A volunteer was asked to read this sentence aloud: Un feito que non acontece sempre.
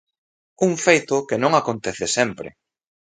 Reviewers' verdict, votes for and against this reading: accepted, 2, 0